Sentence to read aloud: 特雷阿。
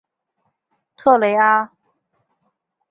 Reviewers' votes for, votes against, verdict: 2, 0, accepted